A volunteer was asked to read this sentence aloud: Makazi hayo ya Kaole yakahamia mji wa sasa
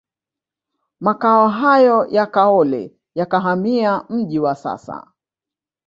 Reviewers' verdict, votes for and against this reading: rejected, 1, 2